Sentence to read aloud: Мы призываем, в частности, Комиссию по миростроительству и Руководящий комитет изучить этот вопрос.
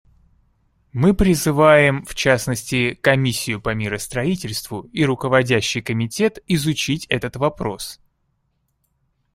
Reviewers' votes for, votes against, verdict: 2, 0, accepted